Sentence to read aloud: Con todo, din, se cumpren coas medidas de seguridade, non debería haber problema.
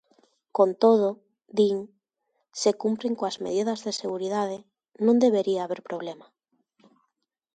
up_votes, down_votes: 2, 0